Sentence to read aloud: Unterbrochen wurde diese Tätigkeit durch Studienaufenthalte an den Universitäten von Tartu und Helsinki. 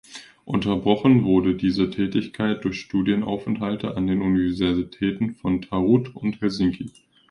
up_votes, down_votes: 0, 2